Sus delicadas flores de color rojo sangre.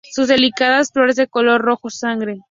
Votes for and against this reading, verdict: 2, 0, accepted